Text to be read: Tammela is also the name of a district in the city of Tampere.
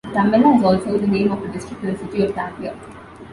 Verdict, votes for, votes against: rejected, 1, 2